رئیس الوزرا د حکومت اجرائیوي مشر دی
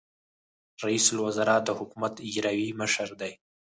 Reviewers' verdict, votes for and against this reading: rejected, 2, 4